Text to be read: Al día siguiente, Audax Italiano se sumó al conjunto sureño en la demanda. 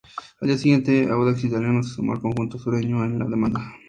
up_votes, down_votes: 2, 0